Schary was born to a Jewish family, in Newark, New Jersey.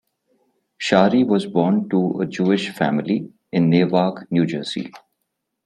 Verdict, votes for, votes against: rejected, 1, 2